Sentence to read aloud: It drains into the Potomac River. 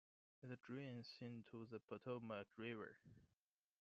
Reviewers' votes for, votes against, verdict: 2, 1, accepted